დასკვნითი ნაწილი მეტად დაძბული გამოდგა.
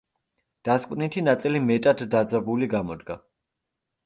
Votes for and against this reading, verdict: 0, 2, rejected